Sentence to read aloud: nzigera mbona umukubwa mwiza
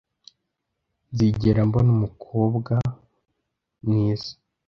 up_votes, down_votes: 0, 2